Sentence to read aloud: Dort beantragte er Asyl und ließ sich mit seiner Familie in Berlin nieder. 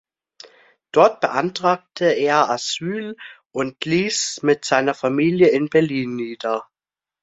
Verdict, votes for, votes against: rejected, 0, 2